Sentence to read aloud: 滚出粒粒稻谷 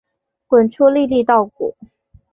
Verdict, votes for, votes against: accepted, 3, 1